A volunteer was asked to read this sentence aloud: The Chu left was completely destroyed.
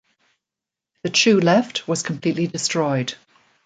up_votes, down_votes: 2, 0